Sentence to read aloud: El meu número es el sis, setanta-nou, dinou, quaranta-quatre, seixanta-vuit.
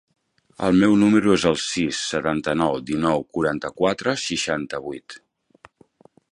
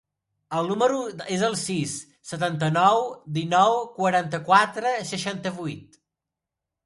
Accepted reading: first